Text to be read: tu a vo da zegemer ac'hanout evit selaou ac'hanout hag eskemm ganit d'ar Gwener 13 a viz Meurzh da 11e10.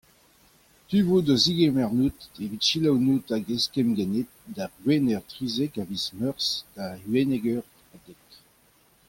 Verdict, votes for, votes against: rejected, 0, 2